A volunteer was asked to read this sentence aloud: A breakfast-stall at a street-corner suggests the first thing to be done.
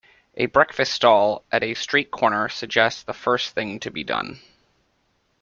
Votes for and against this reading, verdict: 2, 1, accepted